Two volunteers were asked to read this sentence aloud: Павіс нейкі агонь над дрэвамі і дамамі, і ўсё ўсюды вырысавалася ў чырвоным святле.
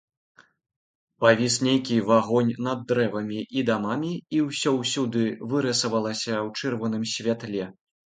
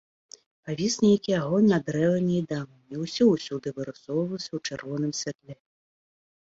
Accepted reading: first